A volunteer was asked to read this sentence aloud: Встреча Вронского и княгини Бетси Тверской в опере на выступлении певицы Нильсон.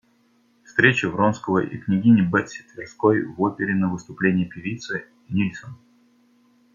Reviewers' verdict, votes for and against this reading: accepted, 2, 0